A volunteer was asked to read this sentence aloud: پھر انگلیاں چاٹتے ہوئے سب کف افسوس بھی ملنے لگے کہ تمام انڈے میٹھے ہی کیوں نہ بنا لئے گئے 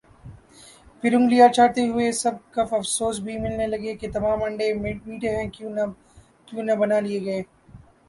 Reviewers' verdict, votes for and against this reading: accepted, 2, 0